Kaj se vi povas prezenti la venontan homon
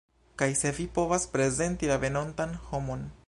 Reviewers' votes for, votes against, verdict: 1, 2, rejected